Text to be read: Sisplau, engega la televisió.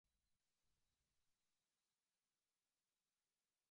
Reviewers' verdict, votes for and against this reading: rejected, 0, 2